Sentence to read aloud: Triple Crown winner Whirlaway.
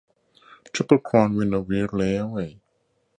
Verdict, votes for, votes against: accepted, 2, 0